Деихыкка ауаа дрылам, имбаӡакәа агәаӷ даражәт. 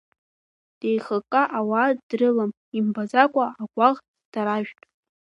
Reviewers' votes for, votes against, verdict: 2, 0, accepted